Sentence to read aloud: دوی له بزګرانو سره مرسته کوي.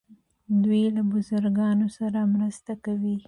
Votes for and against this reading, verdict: 1, 2, rejected